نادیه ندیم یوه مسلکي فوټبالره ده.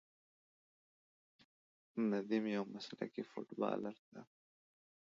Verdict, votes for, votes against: rejected, 0, 2